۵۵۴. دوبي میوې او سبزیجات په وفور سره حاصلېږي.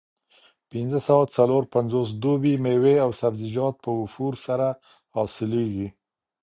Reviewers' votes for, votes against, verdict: 0, 2, rejected